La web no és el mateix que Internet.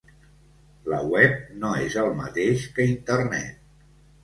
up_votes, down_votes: 2, 0